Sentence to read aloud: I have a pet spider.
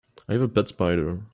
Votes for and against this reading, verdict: 2, 1, accepted